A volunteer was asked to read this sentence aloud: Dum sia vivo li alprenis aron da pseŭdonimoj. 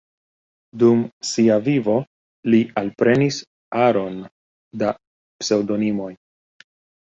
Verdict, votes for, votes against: rejected, 1, 2